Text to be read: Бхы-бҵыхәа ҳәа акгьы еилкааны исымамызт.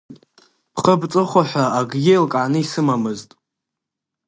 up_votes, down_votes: 2, 0